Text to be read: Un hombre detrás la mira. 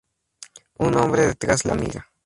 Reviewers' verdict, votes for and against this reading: rejected, 2, 2